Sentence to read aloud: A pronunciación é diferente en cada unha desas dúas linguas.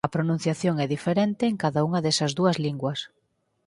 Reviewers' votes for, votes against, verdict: 4, 0, accepted